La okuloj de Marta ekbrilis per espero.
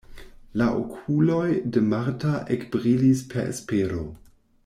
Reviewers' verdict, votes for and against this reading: accepted, 2, 0